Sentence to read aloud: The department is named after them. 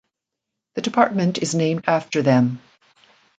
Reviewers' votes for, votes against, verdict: 2, 1, accepted